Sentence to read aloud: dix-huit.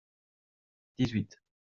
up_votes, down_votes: 2, 0